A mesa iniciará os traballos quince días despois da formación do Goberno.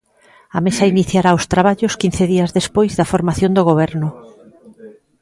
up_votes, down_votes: 1, 2